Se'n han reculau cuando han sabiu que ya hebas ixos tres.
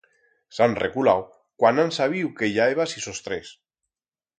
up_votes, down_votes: 2, 4